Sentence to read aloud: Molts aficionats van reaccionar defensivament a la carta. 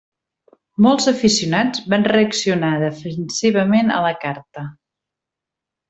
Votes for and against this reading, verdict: 3, 0, accepted